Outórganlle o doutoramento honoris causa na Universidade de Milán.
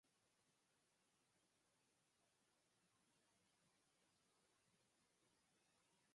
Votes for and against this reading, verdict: 0, 4, rejected